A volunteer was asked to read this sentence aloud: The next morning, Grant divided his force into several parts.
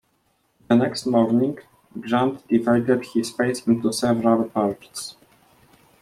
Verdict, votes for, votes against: rejected, 0, 2